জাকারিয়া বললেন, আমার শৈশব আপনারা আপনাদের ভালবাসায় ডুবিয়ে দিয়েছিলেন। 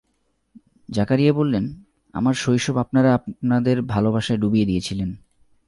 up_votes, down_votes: 2, 0